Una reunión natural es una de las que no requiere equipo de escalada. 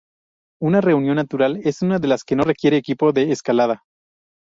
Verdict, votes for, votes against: rejected, 2, 2